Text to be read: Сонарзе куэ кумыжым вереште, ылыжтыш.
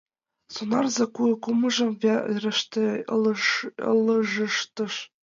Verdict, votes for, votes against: rejected, 0, 2